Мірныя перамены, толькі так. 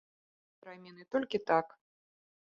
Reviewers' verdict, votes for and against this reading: rejected, 1, 2